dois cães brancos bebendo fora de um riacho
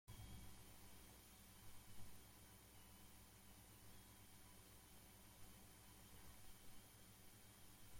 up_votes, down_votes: 0, 2